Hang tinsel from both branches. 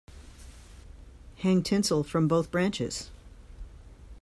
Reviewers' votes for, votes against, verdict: 2, 1, accepted